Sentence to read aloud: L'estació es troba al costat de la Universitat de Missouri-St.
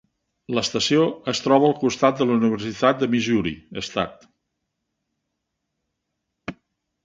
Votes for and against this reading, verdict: 8, 9, rejected